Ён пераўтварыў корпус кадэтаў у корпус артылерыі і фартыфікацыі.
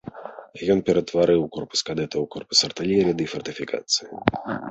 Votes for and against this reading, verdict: 1, 2, rejected